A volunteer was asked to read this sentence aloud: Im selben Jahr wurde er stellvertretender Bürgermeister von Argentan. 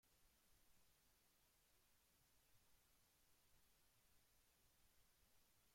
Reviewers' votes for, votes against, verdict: 0, 2, rejected